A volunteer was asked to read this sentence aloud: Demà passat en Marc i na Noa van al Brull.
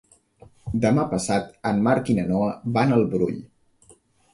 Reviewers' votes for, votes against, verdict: 3, 0, accepted